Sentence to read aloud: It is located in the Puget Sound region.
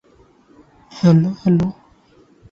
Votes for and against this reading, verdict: 0, 2, rejected